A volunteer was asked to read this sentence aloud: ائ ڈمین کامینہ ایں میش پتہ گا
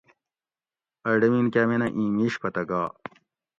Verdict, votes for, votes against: accepted, 2, 0